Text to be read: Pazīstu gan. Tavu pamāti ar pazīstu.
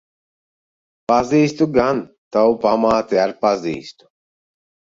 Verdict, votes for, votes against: accepted, 2, 0